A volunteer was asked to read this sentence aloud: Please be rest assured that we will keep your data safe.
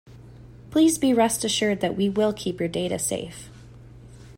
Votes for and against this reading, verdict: 2, 0, accepted